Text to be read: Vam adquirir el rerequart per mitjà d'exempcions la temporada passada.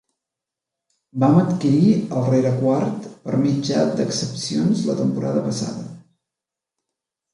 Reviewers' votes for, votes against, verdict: 1, 2, rejected